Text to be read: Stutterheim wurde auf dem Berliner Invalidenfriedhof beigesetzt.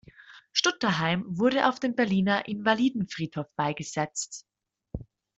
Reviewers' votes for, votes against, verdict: 1, 2, rejected